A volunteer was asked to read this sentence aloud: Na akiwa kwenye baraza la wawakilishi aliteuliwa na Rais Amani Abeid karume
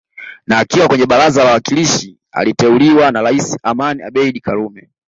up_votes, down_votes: 2, 0